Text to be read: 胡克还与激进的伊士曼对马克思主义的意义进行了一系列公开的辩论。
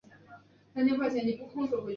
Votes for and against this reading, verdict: 0, 2, rejected